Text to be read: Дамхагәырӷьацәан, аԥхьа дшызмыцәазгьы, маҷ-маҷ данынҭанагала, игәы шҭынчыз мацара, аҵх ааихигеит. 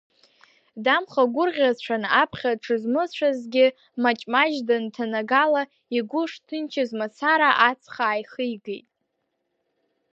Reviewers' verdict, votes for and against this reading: rejected, 0, 2